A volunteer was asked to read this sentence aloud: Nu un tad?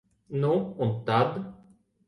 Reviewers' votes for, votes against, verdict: 2, 0, accepted